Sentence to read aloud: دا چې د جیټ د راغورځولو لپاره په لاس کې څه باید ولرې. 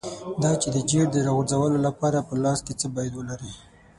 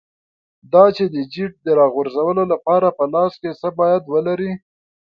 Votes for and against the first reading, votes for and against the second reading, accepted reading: 3, 6, 2, 0, second